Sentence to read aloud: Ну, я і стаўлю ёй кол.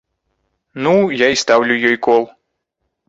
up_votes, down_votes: 2, 0